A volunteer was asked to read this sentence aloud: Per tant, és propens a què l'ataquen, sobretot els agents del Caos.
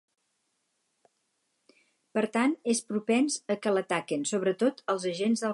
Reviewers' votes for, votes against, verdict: 2, 2, rejected